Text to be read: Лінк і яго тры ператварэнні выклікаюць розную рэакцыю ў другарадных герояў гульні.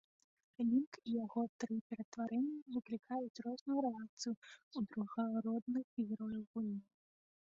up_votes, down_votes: 1, 3